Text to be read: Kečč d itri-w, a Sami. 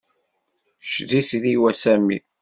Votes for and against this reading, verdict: 2, 0, accepted